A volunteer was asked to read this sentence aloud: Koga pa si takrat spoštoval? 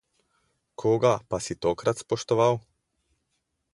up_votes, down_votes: 0, 2